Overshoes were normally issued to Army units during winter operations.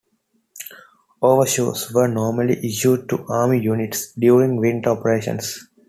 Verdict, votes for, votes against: accepted, 2, 0